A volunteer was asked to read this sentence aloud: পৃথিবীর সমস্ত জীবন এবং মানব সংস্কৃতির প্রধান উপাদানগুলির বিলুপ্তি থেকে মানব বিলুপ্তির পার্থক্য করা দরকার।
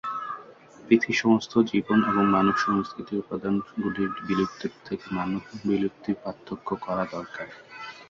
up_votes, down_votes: 0, 2